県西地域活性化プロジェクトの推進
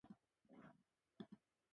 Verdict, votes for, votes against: rejected, 1, 7